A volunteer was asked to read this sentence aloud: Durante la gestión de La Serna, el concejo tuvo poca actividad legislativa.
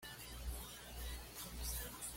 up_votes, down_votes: 1, 2